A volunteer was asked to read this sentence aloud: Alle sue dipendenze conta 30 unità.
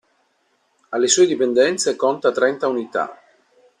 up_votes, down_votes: 0, 2